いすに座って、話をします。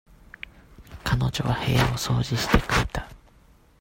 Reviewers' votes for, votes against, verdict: 0, 2, rejected